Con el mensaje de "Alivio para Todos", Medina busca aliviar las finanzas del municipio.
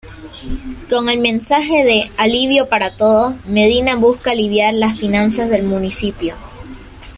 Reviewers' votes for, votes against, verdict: 0, 2, rejected